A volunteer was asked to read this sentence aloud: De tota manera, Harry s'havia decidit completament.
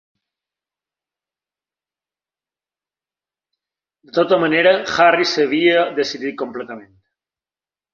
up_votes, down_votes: 2, 1